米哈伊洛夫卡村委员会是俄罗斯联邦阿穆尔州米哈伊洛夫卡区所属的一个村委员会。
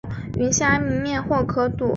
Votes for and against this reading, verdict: 0, 2, rejected